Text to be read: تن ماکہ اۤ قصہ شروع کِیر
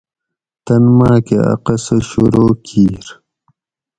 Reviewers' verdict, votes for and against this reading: accepted, 4, 0